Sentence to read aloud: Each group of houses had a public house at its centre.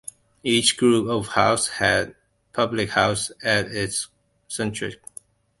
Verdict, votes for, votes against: rejected, 0, 2